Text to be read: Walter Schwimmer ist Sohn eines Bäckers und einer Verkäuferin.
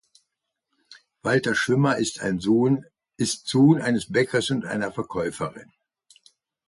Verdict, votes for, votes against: rejected, 1, 2